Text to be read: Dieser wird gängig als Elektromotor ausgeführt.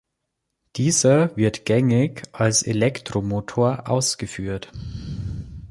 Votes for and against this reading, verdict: 3, 0, accepted